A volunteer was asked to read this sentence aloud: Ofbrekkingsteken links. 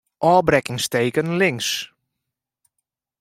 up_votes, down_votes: 2, 0